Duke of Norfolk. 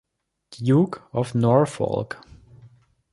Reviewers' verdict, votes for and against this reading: accepted, 2, 0